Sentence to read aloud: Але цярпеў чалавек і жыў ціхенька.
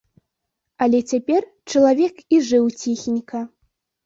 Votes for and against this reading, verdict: 1, 2, rejected